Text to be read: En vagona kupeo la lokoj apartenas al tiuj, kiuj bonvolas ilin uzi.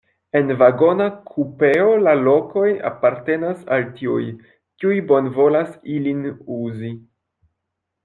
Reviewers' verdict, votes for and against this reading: accepted, 2, 0